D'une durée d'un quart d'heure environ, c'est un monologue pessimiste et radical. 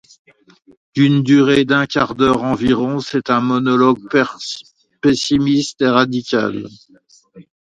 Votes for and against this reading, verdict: 1, 2, rejected